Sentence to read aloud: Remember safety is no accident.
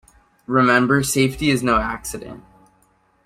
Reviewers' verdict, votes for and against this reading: accepted, 2, 0